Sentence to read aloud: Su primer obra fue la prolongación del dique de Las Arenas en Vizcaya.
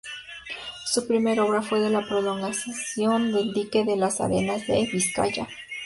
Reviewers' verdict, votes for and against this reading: rejected, 0, 2